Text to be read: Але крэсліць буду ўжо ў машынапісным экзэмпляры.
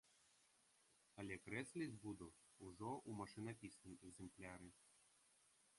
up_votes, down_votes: 1, 2